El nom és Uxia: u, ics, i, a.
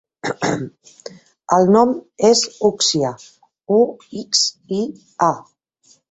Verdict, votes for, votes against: rejected, 1, 2